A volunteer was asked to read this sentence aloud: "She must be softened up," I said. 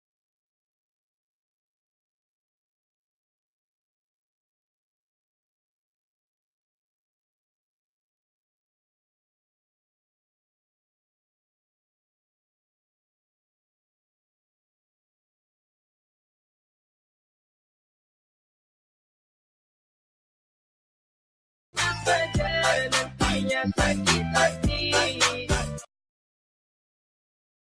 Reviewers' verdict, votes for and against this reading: rejected, 0, 2